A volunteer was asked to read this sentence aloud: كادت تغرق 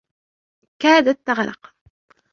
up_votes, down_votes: 1, 2